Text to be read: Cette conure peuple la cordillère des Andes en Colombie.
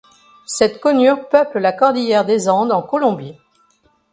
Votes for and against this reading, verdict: 2, 0, accepted